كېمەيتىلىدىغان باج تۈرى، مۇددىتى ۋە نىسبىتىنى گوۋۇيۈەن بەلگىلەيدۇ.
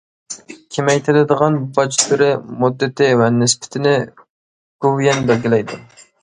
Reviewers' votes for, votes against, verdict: 1, 2, rejected